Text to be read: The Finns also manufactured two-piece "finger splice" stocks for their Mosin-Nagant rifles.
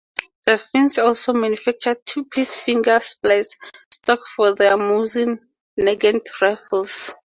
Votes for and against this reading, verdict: 2, 0, accepted